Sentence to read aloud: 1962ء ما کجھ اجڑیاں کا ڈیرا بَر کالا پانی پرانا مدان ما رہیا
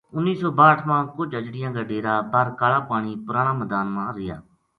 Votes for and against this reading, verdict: 0, 2, rejected